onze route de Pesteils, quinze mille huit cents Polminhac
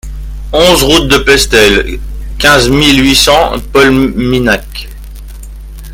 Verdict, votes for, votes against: rejected, 0, 2